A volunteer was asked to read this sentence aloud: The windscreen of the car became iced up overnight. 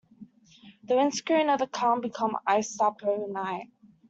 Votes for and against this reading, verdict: 0, 2, rejected